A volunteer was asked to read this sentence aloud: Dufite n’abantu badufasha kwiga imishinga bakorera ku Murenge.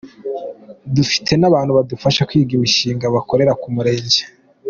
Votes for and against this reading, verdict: 2, 0, accepted